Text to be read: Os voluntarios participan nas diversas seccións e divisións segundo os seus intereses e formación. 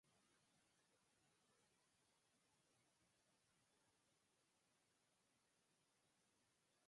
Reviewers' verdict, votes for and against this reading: rejected, 0, 4